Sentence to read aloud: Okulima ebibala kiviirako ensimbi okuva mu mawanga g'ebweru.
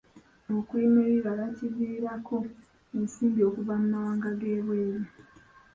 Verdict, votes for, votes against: accepted, 3, 1